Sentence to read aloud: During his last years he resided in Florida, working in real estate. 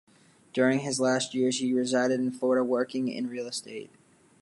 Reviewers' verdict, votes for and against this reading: accepted, 2, 0